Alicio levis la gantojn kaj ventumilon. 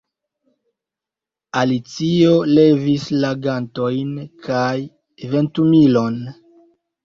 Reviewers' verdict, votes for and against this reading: rejected, 1, 2